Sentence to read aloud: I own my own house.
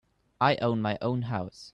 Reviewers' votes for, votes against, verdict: 2, 0, accepted